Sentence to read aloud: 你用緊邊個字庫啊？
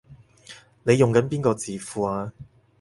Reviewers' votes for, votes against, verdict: 4, 0, accepted